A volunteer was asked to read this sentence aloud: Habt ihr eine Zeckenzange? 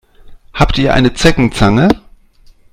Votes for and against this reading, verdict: 2, 0, accepted